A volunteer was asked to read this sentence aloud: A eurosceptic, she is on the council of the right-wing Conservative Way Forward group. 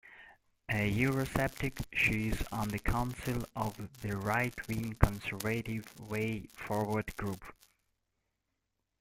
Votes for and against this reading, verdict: 0, 2, rejected